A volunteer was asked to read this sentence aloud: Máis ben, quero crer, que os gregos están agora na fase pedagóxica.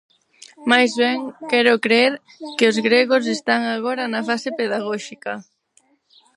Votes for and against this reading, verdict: 2, 4, rejected